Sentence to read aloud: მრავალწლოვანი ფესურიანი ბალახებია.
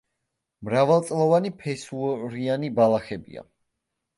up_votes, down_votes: 0, 2